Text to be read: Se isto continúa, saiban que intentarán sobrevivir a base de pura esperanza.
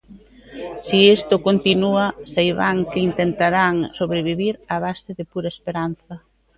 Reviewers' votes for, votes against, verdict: 1, 2, rejected